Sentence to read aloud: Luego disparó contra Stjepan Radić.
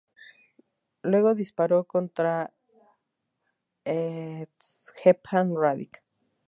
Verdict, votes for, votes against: rejected, 0, 2